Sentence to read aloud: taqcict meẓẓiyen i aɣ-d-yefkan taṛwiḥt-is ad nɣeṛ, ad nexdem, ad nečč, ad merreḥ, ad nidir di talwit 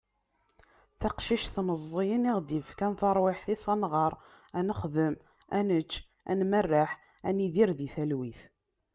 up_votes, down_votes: 2, 0